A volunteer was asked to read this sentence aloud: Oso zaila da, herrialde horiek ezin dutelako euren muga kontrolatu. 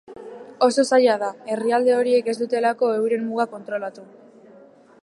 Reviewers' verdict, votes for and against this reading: accepted, 2, 0